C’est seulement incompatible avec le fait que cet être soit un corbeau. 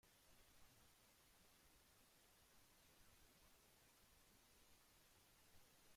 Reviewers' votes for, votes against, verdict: 0, 2, rejected